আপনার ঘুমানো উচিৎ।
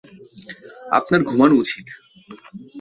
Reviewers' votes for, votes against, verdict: 2, 0, accepted